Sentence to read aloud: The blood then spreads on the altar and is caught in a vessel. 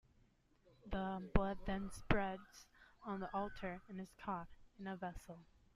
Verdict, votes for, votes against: rejected, 1, 2